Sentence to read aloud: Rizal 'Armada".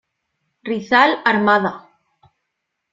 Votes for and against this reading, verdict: 2, 0, accepted